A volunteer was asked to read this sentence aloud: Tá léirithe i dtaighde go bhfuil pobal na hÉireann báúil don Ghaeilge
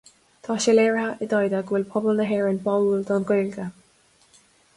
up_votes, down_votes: 1, 2